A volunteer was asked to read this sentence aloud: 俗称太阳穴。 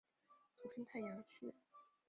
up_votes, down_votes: 1, 2